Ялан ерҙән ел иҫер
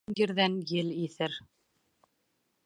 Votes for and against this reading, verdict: 1, 2, rejected